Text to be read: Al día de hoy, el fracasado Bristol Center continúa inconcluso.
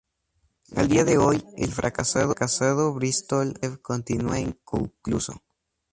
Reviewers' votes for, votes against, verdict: 2, 0, accepted